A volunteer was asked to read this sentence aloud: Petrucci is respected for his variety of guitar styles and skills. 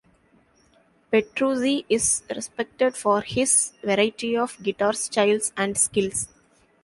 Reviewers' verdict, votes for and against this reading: accepted, 2, 1